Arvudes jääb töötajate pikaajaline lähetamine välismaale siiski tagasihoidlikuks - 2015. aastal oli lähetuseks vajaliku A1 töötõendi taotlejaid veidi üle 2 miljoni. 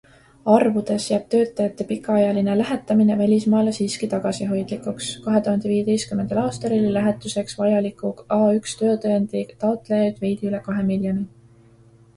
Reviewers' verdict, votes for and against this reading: rejected, 0, 2